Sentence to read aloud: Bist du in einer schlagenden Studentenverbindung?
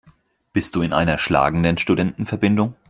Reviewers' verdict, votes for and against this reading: rejected, 2, 4